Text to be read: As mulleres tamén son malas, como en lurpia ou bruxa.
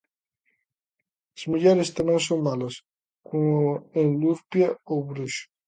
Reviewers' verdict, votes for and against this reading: accepted, 2, 0